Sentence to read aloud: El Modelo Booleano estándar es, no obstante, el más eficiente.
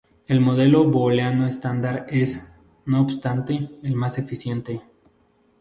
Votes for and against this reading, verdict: 0, 2, rejected